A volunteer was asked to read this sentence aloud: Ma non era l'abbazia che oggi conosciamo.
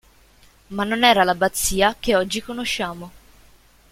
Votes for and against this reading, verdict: 2, 0, accepted